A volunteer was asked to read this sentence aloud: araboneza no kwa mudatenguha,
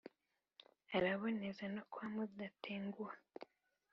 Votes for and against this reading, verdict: 2, 0, accepted